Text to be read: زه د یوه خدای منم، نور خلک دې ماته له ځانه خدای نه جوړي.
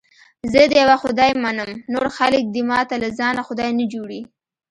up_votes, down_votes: 2, 0